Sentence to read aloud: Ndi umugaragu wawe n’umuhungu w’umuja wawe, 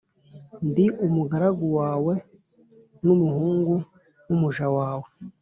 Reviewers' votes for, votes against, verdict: 4, 0, accepted